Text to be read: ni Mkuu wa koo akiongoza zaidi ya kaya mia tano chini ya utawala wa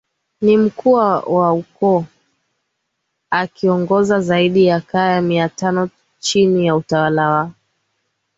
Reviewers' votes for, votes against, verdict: 10, 1, accepted